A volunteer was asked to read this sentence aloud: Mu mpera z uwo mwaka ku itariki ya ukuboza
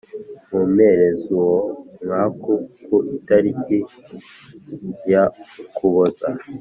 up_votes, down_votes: 0, 2